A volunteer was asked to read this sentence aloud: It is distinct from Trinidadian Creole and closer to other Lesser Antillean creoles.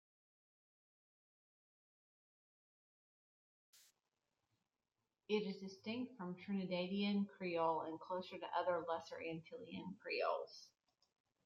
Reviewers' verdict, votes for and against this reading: rejected, 0, 2